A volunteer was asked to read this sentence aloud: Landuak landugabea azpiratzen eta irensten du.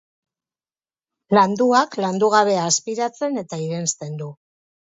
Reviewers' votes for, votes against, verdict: 4, 0, accepted